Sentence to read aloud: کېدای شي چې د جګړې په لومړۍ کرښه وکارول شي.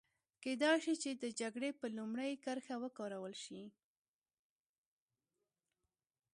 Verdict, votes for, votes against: accepted, 2, 0